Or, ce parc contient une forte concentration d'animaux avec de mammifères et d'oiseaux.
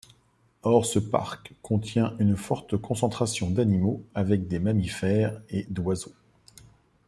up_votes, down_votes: 1, 2